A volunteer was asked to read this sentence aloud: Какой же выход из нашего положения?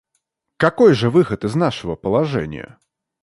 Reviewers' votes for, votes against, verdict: 2, 0, accepted